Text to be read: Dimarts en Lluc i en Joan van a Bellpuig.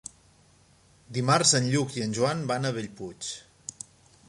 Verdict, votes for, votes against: accepted, 3, 0